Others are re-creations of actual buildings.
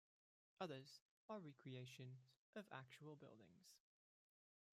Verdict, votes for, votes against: rejected, 1, 2